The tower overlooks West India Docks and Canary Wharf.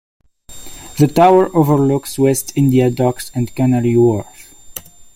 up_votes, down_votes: 2, 0